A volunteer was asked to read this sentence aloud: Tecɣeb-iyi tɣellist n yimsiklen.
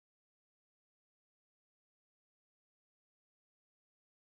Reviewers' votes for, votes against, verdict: 0, 2, rejected